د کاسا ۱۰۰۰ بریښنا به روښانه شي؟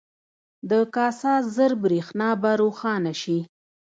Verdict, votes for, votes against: rejected, 0, 2